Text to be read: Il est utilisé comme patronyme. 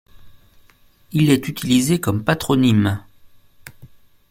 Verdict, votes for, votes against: accepted, 2, 0